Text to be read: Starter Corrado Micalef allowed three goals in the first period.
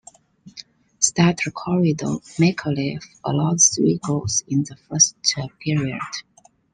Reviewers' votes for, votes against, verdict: 2, 0, accepted